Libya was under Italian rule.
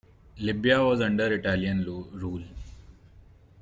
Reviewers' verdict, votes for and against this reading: rejected, 0, 2